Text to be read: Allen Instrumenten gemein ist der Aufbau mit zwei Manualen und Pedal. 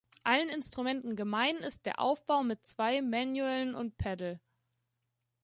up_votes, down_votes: 2, 3